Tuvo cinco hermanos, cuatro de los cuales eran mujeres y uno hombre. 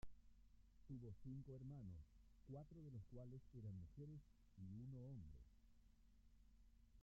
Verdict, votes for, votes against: rejected, 0, 2